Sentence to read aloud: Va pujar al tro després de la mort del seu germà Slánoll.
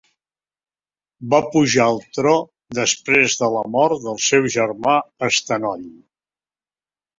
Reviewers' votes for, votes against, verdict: 2, 3, rejected